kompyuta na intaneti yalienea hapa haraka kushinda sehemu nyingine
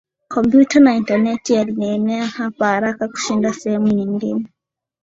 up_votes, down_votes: 2, 0